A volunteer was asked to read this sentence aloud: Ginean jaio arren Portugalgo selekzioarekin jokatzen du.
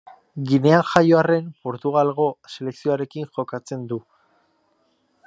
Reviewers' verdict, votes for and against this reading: rejected, 1, 2